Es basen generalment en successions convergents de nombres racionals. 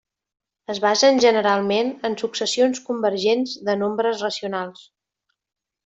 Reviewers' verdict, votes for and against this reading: accepted, 3, 0